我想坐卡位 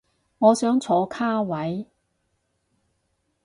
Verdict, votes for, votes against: accepted, 4, 0